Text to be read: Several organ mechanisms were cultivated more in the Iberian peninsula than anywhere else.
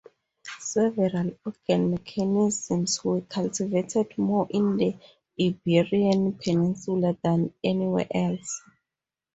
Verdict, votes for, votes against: accepted, 4, 0